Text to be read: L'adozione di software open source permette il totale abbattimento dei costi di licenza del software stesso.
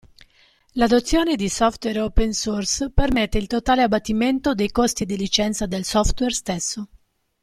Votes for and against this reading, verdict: 2, 0, accepted